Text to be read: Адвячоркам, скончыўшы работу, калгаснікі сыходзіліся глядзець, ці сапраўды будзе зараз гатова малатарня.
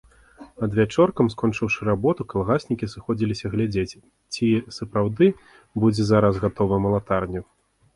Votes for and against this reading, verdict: 2, 0, accepted